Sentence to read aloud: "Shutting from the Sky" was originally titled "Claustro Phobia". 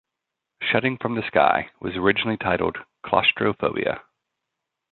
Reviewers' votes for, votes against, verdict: 2, 0, accepted